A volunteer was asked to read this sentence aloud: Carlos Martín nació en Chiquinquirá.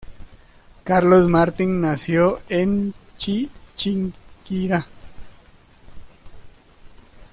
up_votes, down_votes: 1, 2